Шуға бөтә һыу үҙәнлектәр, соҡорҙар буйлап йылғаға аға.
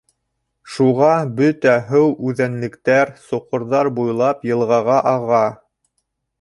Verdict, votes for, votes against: rejected, 1, 2